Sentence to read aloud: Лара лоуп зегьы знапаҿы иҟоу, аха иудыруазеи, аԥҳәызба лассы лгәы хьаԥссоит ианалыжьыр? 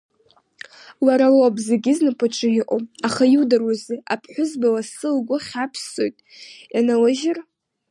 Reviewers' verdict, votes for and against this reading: rejected, 1, 2